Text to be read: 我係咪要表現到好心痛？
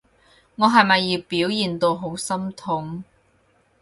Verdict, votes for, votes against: accepted, 4, 0